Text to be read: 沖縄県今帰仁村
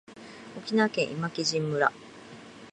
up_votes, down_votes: 2, 1